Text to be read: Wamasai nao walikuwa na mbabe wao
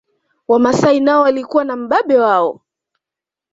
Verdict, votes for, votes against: accepted, 2, 0